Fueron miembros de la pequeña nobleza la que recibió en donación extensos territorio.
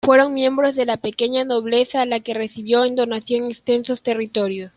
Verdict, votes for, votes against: accepted, 2, 0